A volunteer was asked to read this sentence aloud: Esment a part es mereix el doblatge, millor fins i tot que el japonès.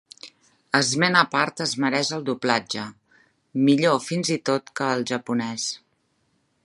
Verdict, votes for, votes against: rejected, 0, 2